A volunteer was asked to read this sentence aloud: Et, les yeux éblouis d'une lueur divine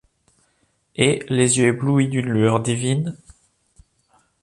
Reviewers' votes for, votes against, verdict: 2, 0, accepted